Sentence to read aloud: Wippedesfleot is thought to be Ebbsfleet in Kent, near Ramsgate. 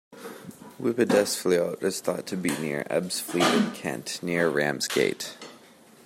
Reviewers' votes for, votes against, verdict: 1, 2, rejected